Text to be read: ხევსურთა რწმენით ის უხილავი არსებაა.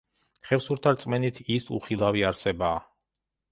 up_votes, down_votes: 2, 0